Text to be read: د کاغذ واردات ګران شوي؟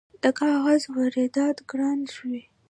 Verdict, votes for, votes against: accepted, 3, 1